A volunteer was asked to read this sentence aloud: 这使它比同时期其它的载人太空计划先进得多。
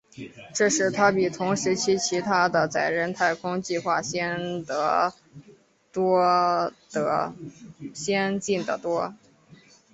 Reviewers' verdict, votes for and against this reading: rejected, 1, 3